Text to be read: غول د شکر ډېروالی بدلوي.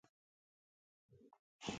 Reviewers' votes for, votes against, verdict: 0, 6, rejected